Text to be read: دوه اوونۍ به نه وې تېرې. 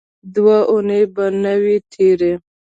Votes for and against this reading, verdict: 1, 2, rejected